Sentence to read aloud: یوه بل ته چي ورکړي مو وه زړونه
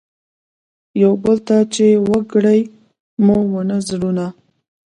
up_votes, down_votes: 0, 2